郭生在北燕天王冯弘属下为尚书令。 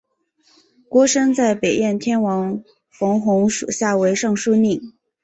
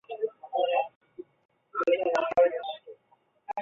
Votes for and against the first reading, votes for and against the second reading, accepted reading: 4, 0, 2, 3, first